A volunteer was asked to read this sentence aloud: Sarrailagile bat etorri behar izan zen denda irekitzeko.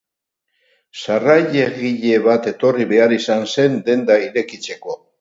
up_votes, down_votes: 4, 0